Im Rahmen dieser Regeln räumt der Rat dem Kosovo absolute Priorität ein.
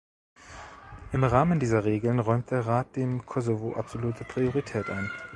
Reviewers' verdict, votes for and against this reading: accepted, 2, 1